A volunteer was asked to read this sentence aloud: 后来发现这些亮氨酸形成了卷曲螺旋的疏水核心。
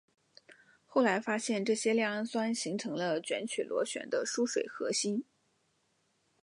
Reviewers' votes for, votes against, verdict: 2, 0, accepted